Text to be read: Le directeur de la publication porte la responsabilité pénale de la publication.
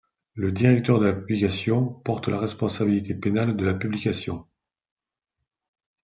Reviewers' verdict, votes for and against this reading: rejected, 1, 2